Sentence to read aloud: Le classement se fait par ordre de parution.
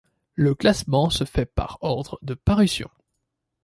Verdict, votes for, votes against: accepted, 2, 0